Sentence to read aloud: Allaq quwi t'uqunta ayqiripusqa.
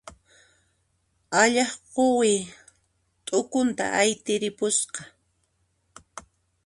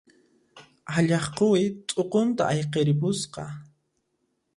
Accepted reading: second